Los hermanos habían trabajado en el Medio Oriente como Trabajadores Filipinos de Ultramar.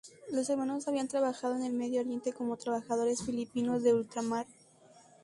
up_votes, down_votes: 2, 0